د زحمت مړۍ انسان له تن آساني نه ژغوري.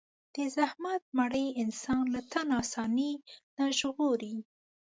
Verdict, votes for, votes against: accepted, 2, 0